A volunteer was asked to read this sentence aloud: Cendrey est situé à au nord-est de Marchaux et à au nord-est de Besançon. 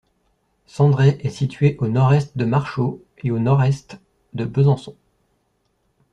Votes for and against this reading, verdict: 1, 2, rejected